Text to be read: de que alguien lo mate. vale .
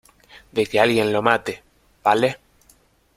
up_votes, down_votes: 2, 0